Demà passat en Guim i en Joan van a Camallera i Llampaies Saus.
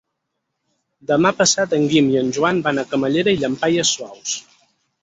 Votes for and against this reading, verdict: 2, 4, rejected